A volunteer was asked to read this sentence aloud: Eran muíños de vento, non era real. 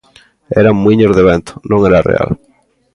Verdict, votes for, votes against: accepted, 2, 0